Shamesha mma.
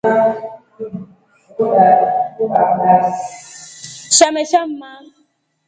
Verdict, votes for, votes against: accepted, 2, 0